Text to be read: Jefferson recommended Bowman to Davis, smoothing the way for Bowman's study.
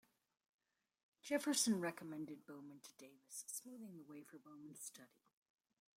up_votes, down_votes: 2, 0